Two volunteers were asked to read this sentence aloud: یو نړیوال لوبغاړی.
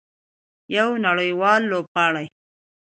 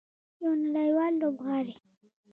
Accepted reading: first